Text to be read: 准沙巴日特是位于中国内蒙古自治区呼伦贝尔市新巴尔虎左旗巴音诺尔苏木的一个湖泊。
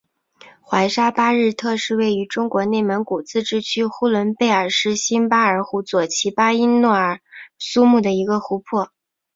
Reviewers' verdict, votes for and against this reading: accepted, 3, 0